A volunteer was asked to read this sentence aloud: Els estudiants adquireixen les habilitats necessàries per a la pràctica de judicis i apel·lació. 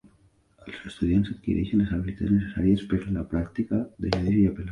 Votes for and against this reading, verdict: 0, 2, rejected